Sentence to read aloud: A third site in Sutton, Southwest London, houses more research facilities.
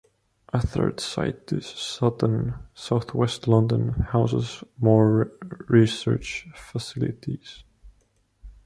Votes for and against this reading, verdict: 1, 2, rejected